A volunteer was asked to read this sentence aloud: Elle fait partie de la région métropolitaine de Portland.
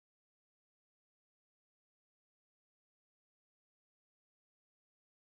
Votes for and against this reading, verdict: 0, 2, rejected